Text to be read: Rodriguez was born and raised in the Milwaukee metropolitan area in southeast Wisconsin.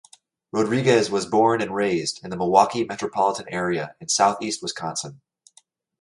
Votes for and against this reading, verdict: 2, 0, accepted